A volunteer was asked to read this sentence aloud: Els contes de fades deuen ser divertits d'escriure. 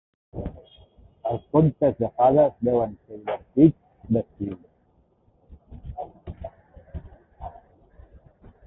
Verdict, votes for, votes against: rejected, 0, 3